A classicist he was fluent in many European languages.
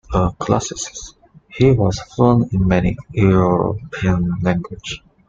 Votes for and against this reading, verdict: 0, 2, rejected